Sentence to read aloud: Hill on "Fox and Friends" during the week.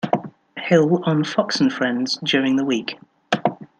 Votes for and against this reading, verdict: 2, 0, accepted